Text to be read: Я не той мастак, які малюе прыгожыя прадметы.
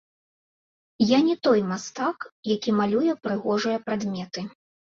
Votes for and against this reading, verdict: 1, 2, rejected